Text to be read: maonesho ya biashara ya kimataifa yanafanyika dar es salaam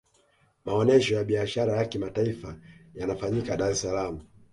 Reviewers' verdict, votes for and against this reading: accepted, 2, 0